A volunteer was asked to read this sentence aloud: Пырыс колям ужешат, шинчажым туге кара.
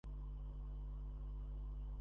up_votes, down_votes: 0, 2